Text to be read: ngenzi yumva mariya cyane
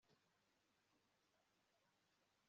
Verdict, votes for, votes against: rejected, 1, 2